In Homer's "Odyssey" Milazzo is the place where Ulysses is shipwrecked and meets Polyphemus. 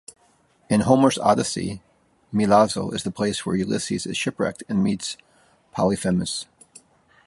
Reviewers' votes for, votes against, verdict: 2, 0, accepted